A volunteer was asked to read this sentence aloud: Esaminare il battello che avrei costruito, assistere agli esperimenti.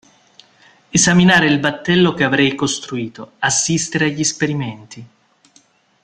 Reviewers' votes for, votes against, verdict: 1, 2, rejected